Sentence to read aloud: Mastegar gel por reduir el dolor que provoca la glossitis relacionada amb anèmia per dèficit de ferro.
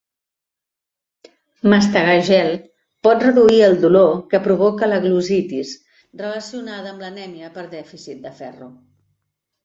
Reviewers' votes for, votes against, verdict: 1, 2, rejected